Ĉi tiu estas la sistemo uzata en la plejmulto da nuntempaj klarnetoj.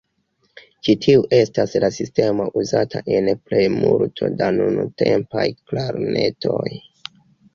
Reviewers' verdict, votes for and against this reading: rejected, 1, 2